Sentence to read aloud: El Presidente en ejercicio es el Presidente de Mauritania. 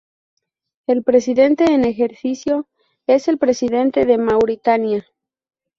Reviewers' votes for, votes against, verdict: 0, 2, rejected